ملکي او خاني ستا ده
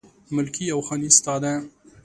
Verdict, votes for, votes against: accepted, 2, 0